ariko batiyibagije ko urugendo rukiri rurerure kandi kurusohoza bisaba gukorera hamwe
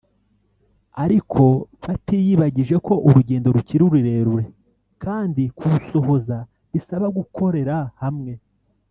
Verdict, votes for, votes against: rejected, 0, 2